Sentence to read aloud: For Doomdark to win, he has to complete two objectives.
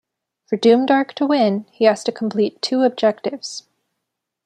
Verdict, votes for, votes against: accepted, 2, 0